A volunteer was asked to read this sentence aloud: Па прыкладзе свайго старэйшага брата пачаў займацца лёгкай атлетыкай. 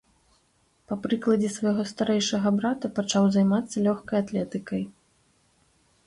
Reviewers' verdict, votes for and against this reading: accepted, 2, 0